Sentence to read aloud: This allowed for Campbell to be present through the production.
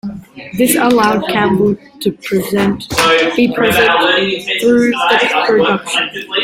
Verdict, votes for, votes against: rejected, 0, 2